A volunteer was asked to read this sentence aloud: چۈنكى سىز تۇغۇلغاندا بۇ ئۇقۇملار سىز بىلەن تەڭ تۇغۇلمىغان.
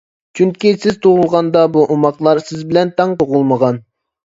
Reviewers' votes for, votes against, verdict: 0, 2, rejected